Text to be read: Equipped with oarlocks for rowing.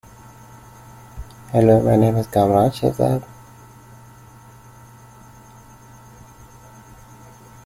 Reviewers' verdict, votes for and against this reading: rejected, 0, 2